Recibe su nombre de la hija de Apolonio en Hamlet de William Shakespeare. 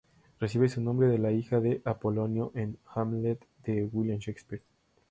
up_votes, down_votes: 2, 0